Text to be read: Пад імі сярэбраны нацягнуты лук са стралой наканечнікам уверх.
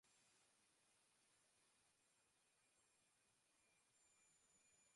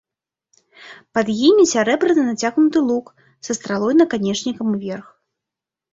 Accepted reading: second